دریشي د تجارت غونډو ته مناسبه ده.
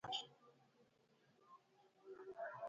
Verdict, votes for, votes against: rejected, 0, 2